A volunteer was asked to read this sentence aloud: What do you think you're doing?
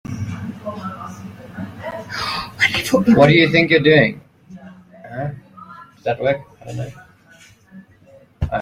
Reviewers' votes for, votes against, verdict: 1, 3, rejected